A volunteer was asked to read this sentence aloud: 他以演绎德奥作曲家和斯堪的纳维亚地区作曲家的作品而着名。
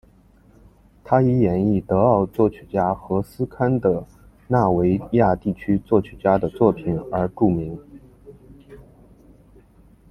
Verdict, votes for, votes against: rejected, 0, 2